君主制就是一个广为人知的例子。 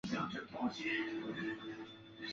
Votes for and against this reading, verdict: 0, 2, rejected